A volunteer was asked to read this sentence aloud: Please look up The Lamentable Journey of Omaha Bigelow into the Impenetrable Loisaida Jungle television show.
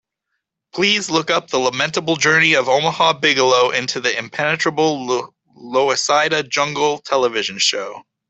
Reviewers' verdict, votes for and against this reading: rejected, 0, 2